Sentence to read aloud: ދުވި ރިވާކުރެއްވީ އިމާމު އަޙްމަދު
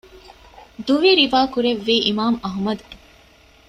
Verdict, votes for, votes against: accepted, 2, 0